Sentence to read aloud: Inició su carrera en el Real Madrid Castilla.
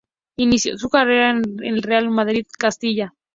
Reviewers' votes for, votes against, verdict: 0, 2, rejected